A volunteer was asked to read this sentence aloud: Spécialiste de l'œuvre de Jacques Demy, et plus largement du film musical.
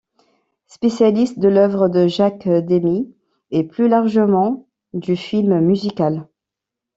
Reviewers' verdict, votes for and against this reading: accepted, 2, 1